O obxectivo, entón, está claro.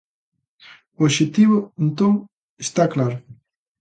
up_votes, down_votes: 2, 0